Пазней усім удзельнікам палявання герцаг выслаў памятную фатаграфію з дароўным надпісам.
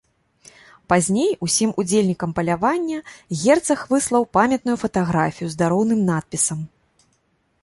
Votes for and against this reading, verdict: 2, 0, accepted